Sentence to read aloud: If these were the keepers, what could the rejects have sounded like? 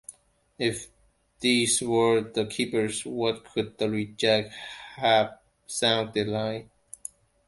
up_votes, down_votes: 1, 2